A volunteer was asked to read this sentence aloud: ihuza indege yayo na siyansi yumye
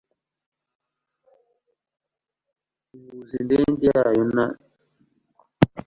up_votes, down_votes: 1, 2